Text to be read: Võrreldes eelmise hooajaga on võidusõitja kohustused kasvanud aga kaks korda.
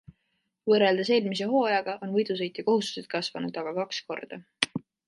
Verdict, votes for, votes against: accepted, 2, 0